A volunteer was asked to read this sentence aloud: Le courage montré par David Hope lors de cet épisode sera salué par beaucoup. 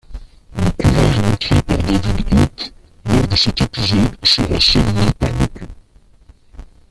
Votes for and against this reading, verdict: 0, 2, rejected